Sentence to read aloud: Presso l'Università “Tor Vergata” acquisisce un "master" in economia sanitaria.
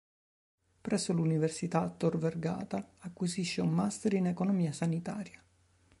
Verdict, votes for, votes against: accepted, 3, 0